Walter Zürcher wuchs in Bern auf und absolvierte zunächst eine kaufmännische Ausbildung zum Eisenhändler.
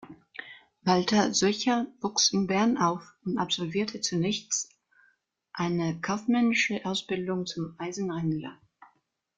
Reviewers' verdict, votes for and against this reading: rejected, 0, 2